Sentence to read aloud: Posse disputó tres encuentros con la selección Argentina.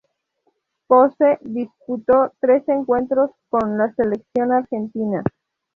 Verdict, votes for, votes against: accepted, 4, 0